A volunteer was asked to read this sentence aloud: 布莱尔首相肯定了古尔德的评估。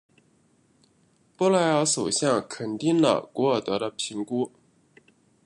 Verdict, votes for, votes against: accepted, 2, 0